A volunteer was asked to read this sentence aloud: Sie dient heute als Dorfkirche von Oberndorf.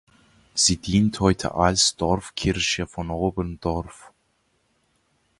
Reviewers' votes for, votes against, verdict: 2, 1, accepted